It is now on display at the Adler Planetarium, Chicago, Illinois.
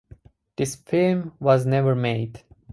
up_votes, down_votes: 0, 2